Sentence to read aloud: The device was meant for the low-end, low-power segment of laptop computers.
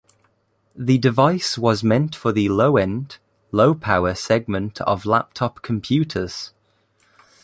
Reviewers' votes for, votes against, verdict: 0, 2, rejected